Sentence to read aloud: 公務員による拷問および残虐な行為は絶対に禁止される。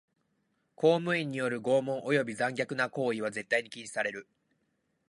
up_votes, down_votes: 2, 0